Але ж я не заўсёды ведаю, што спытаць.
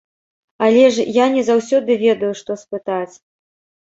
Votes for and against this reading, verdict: 2, 0, accepted